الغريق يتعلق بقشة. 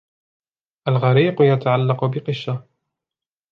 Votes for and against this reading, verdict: 0, 2, rejected